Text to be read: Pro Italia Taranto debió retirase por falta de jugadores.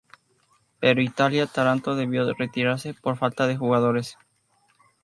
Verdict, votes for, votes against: rejected, 0, 2